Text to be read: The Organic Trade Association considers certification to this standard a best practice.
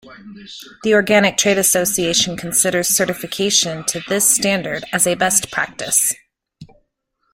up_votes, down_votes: 2, 3